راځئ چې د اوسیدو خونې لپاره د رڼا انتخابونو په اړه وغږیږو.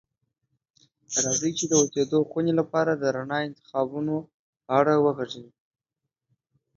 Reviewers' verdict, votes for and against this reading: rejected, 1, 3